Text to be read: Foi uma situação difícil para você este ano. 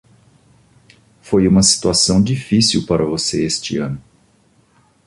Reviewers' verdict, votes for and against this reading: accepted, 2, 0